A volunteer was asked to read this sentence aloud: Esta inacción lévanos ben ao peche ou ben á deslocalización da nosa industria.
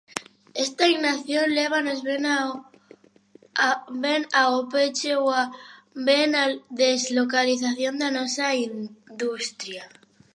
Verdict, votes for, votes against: rejected, 0, 2